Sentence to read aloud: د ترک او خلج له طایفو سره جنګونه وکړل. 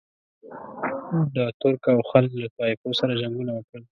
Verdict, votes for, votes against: rejected, 1, 2